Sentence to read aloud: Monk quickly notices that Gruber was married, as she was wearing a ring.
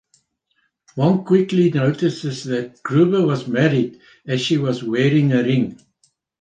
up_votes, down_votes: 2, 0